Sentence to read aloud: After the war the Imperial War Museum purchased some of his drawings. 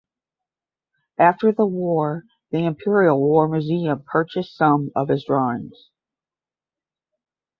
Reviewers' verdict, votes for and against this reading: accepted, 10, 0